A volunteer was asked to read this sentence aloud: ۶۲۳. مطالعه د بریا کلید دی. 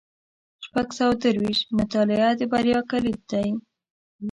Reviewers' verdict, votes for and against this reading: rejected, 0, 2